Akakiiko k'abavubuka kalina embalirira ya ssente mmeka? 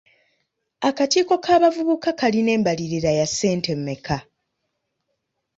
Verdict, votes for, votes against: accepted, 2, 0